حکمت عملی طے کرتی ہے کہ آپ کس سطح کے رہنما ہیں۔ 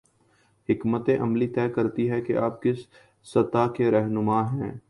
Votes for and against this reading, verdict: 2, 0, accepted